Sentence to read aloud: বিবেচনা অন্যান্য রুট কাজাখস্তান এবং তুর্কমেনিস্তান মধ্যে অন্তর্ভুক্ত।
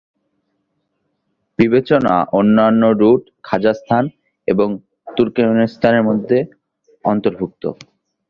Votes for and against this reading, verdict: 0, 2, rejected